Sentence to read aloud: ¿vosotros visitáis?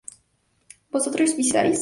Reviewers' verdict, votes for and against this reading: rejected, 0, 2